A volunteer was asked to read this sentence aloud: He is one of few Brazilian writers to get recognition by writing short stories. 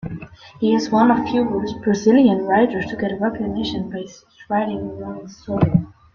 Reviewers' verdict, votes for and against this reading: rejected, 0, 2